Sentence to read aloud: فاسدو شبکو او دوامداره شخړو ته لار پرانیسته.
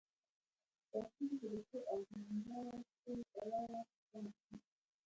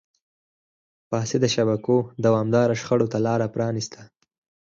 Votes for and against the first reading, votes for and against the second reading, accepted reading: 1, 2, 4, 2, second